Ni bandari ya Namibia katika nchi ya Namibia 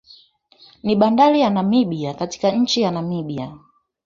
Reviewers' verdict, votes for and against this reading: accepted, 4, 1